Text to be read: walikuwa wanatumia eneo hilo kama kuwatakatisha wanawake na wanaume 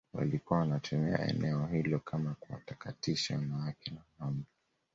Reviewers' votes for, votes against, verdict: 2, 0, accepted